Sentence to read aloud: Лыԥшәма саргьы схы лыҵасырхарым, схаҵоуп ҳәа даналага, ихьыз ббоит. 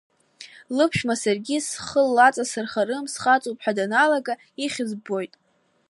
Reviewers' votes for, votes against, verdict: 0, 2, rejected